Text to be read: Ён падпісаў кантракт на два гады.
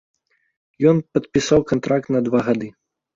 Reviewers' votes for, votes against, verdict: 2, 0, accepted